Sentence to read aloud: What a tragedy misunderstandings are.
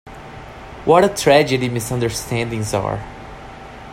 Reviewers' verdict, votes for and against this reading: accepted, 2, 0